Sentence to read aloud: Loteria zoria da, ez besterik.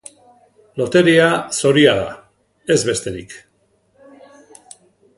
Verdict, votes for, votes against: accepted, 2, 0